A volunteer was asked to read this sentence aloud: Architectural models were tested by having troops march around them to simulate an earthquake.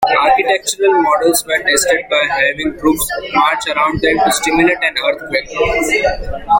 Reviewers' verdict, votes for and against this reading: accepted, 2, 0